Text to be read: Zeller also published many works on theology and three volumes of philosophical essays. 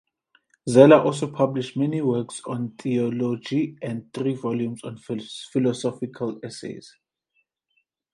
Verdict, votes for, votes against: rejected, 0, 2